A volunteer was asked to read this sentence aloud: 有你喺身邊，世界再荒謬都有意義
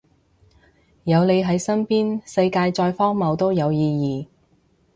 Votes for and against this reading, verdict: 2, 0, accepted